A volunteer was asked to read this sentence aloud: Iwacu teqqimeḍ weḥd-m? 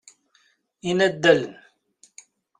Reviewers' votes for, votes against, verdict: 0, 2, rejected